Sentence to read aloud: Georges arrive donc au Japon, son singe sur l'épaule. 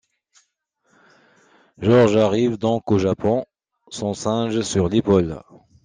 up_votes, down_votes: 2, 0